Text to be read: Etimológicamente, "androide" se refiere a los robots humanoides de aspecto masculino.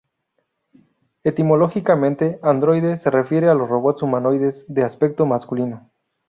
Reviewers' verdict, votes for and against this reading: rejected, 0, 2